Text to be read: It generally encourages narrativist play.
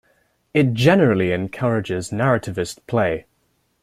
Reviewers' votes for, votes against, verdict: 2, 0, accepted